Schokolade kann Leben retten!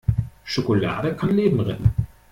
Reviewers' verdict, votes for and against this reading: accepted, 2, 0